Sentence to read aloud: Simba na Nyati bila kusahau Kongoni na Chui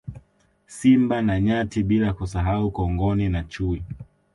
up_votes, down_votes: 2, 0